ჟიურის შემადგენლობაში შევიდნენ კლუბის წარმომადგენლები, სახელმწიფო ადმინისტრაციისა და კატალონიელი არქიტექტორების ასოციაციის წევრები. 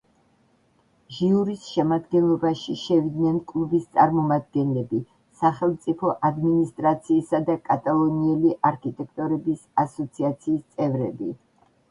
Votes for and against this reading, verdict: 1, 3, rejected